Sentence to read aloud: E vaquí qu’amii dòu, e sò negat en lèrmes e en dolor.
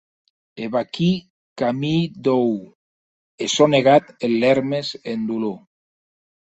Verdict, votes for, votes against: accepted, 2, 0